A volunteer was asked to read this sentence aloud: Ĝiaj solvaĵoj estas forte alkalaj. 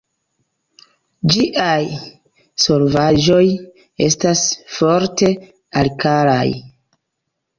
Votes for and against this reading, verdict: 2, 0, accepted